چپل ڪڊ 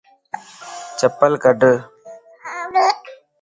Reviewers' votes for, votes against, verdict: 2, 0, accepted